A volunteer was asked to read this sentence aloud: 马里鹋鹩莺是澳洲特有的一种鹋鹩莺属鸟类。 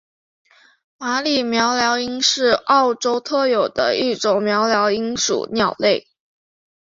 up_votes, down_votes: 2, 0